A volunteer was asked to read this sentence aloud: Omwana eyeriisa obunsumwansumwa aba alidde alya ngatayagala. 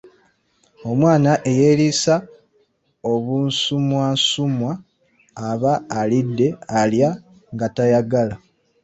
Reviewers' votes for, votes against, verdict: 1, 2, rejected